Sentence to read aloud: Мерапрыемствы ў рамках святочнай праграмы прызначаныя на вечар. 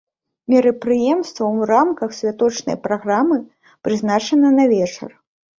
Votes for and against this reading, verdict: 1, 2, rejected